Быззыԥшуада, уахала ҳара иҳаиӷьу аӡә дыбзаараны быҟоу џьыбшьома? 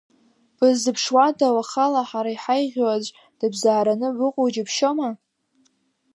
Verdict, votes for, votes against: rejected, 1, 2